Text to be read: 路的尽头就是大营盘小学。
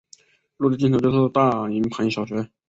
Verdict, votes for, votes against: accepted, 2, 0